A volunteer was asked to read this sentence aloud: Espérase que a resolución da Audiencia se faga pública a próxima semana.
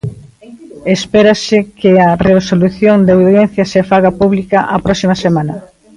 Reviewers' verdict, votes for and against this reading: accepted, 2, 0